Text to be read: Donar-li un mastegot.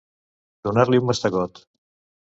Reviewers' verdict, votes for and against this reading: accepted, 2, 0